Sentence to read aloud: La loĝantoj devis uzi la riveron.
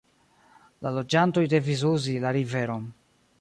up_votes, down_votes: 2, 0